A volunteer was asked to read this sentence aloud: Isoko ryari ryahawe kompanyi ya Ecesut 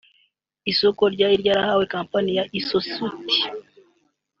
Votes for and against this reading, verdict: 2, 0, accepted